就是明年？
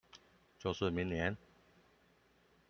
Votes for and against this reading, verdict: 2, 1, accepted